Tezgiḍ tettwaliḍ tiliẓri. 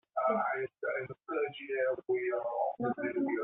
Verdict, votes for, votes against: rejected, 0, 2